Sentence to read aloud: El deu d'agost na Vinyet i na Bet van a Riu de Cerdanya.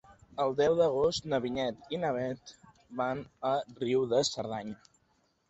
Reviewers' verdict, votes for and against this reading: accepted, 2, 0